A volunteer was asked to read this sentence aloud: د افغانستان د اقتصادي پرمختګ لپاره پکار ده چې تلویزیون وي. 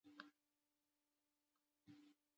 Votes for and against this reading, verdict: 1, 2, rejected